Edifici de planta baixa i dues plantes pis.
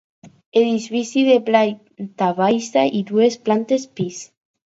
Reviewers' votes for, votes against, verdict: 4, 2, accepted